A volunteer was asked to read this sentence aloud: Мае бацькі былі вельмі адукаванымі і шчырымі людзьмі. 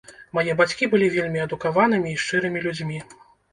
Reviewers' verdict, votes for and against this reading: accepted, 2, 0